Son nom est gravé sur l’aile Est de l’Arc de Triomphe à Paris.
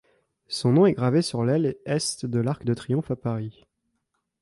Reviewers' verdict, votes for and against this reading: accepted, 2, 1